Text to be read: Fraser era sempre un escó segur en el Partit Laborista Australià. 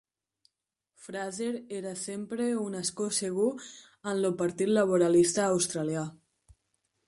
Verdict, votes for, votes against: rejected, 0, 2